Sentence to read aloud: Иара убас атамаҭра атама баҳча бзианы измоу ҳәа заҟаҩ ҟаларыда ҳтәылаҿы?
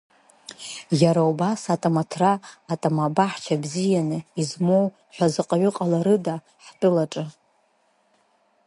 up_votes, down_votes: 3, 0